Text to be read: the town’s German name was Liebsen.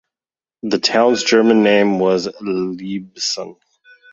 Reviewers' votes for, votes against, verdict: 3, 0, accepted